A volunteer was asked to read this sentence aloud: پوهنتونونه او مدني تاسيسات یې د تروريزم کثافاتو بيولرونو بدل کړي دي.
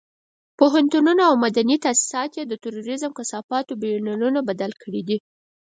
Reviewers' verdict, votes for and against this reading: accepted, 4, 0